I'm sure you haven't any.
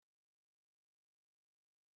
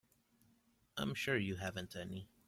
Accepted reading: second